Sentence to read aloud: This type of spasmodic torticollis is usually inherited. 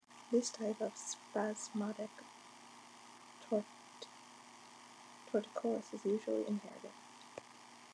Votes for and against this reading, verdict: 1, 2, rejected